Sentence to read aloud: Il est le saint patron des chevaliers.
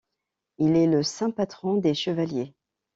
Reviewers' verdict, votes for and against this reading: accepted, 2, 0